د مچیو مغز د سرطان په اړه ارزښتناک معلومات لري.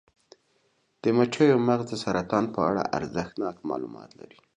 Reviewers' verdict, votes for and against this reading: accepted, 2, 0